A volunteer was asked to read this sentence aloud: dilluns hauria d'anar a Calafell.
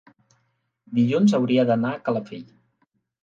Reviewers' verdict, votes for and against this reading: accepted, 4, 0